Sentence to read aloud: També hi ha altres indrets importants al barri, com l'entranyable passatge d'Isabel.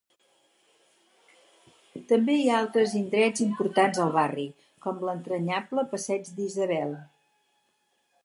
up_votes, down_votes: 0, 4